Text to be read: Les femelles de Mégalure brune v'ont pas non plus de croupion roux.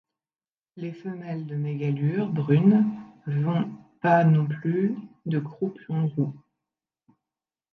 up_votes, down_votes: 1, 2